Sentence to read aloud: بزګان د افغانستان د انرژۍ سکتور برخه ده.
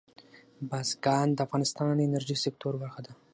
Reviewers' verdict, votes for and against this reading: accepted, 6, 0